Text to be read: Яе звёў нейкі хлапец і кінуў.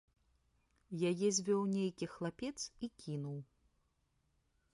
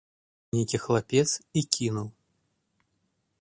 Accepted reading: first